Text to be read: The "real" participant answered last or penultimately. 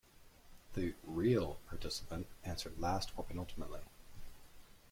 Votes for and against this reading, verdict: 2, 1, accepted